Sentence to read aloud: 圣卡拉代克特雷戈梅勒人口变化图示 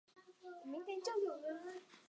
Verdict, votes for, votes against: rejected, 0, 2